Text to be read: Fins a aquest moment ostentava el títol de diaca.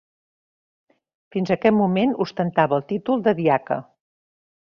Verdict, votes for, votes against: accepted, 2, 1